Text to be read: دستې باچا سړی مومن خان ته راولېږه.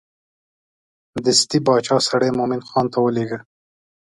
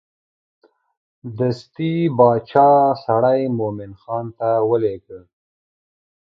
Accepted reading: first